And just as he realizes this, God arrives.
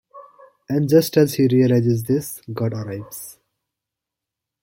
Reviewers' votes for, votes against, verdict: 2, 0, accepted